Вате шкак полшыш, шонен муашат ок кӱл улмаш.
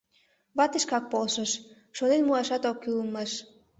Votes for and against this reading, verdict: 2, 0, accepted